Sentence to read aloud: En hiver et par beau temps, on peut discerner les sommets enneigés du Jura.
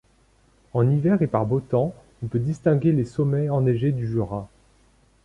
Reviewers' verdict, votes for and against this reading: accepted, 2, 0